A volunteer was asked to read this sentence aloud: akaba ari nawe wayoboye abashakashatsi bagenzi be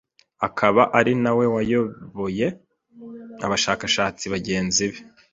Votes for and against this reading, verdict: 2, 0, accepted